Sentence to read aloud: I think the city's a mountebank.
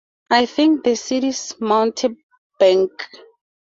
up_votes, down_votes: 0, 2